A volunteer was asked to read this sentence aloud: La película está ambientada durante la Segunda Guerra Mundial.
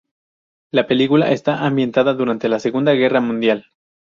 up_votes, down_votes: 2, 0